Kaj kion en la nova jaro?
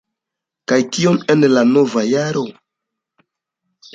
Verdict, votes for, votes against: accepted, 2, 0